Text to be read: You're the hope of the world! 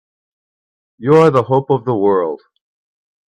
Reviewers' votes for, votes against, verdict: 2, 0, accepted